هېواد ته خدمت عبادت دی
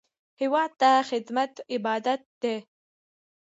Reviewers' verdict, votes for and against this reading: accepted, 2, 0